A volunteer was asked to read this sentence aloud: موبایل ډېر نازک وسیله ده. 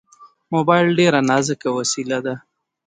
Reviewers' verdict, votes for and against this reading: rejected, 0, 2